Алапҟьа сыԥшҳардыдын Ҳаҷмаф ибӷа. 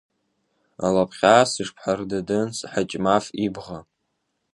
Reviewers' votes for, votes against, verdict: 1, 2, rejected